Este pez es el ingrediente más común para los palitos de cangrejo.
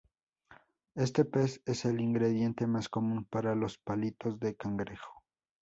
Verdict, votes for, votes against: rejected, 0, 2